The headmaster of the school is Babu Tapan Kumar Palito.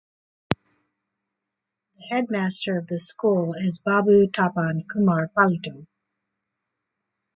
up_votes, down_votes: 2, 4